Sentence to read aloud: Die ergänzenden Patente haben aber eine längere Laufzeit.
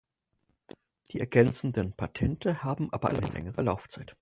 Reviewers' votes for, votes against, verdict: 2, 2, rejected